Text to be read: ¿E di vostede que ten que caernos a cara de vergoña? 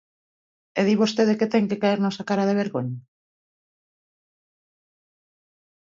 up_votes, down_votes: 1, 2